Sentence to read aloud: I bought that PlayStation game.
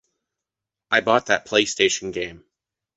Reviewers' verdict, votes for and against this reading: accepted, 2, 0